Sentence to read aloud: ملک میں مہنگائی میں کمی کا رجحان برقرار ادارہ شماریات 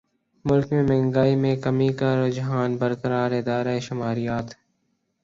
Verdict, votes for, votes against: accepted, 9, 0